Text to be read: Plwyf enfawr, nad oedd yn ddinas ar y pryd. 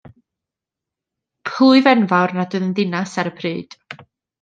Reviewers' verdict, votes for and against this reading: rejected, 0, 2